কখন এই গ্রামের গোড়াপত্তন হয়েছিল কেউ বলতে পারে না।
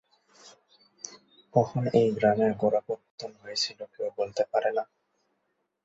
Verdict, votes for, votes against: accepted, 8, 4